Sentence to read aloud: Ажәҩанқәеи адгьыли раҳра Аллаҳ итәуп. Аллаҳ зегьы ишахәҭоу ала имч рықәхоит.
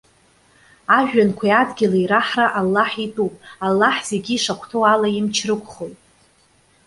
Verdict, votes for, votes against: accepted, 2, 0